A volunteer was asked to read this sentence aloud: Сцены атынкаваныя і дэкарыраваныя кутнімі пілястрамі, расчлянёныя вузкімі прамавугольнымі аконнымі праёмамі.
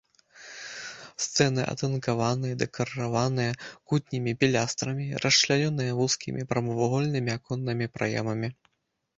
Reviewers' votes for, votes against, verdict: 0, 2, rejected